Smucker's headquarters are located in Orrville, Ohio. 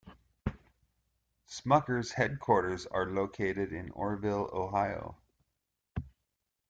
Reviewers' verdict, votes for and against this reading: accepted, 2, 1